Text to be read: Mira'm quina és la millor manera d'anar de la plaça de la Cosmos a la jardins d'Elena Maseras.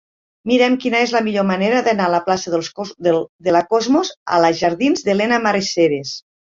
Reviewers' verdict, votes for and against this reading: rejected, 0, 2